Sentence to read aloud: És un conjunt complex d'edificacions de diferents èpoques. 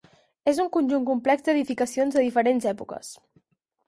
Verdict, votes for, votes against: accepted, 6, 0